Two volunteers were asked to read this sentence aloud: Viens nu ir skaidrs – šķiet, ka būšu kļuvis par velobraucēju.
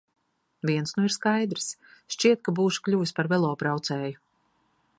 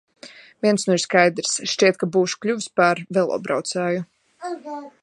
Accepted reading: first